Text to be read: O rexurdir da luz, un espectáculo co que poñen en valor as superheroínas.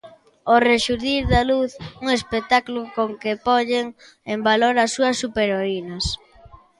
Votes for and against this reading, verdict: 0, 2, rejected